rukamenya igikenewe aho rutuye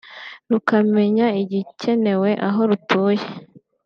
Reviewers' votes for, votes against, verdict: 2, 0, accepted